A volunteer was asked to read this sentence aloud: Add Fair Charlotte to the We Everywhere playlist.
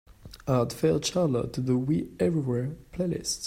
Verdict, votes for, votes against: accepted, 2, 0